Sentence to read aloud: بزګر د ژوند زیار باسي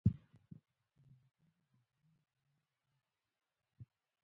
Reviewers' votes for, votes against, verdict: 0, 2, rejected